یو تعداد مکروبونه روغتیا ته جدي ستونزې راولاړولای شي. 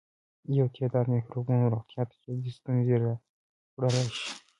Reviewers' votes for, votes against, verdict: 2, 0, accepted